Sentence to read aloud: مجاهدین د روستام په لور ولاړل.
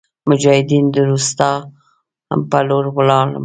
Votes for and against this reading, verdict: 2, 0, accepted